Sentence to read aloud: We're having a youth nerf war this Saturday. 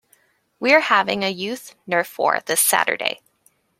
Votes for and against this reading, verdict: 2, 0, accepted